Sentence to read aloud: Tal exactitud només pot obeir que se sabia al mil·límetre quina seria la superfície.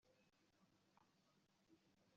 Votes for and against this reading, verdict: 0, 2, rejected